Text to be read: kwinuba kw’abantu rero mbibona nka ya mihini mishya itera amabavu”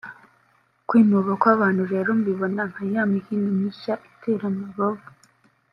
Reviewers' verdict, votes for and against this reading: rejected, 0, 2